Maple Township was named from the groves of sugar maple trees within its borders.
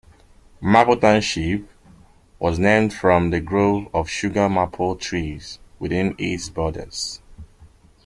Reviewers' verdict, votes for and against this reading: rejected, 1, 2